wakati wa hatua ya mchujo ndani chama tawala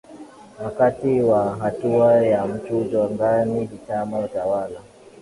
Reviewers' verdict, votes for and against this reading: rejected, 0, 2